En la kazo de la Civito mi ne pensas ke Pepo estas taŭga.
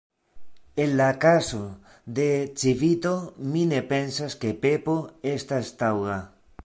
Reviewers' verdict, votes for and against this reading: rejected, 1, 2